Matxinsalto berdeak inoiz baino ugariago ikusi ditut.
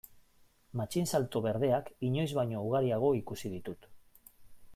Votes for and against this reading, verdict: 2, 0, accepted